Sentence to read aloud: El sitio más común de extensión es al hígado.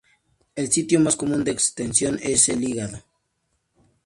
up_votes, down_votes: 2, 0